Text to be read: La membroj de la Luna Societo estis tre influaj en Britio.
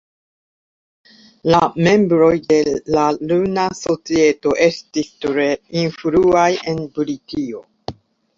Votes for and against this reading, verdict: 2, 0, accepted